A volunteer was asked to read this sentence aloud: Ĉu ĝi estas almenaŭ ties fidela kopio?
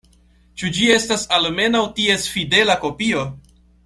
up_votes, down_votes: 2, 0